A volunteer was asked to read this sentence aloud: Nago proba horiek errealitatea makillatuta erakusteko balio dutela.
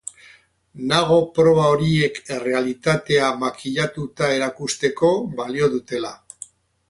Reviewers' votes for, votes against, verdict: 2, 2, rejected